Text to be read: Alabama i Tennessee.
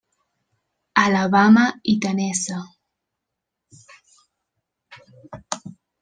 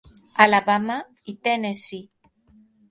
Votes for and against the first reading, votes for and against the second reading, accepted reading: 0, 2, 4, 0, second